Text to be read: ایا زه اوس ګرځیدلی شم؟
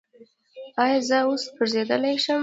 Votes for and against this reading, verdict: 1, 2, rejected